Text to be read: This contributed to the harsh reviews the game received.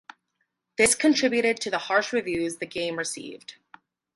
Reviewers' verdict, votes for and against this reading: accepted, 4, 0